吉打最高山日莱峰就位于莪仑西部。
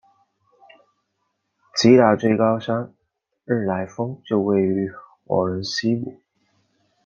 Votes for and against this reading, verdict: 2, 0, accepted